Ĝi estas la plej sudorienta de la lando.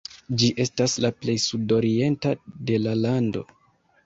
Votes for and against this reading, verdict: 3, 1, accepted